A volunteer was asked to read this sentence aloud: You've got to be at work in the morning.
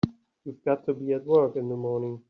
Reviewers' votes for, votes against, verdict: 3, 0, accepted